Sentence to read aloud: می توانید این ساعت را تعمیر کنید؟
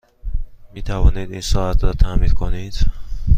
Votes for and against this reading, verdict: 2, 0, accepted